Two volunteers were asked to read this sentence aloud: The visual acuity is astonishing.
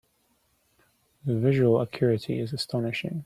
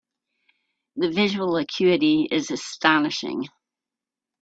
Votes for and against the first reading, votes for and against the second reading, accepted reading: 1, 2, 2, 0, second